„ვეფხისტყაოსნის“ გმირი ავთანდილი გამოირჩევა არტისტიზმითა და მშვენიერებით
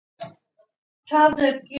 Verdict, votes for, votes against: rejected, 0, 2